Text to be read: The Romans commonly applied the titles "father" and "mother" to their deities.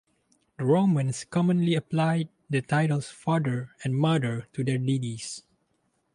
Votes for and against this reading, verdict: 2, 0, accepted